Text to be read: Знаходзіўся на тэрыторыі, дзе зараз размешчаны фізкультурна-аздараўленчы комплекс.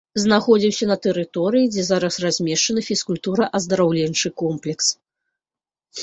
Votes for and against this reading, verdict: 0, 2, rejected